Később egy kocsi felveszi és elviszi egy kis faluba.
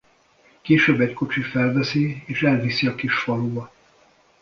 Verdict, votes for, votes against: rejected, 0, 2